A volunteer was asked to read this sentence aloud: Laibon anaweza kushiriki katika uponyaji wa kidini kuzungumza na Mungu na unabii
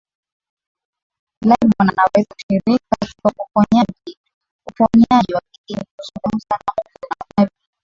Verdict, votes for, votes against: rejected, 0, 2